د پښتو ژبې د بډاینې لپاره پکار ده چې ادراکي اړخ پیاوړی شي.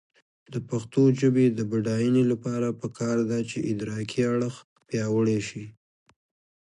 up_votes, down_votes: 2, 1